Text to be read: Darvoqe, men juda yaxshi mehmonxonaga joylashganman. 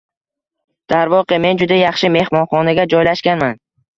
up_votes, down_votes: 2, 0